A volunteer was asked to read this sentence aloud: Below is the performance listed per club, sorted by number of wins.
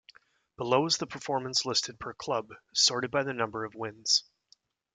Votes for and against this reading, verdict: 1, 2, rejected